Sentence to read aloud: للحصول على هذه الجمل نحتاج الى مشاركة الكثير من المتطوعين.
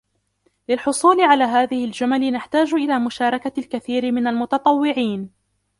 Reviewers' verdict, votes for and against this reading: rejected, 1, 2